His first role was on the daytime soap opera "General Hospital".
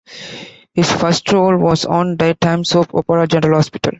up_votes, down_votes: 2, 1